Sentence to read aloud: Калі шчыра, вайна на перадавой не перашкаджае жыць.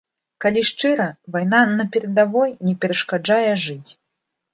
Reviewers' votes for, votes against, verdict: 0, 2, rejected